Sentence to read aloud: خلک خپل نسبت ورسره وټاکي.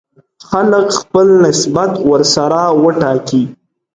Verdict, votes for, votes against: accepted, 2, 0